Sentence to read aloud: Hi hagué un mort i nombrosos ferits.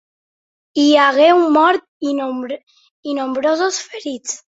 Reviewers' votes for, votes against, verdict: 1, 2, rejected